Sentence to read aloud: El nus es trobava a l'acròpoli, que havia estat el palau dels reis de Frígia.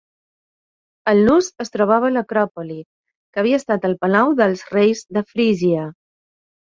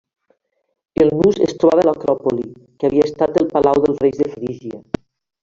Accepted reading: first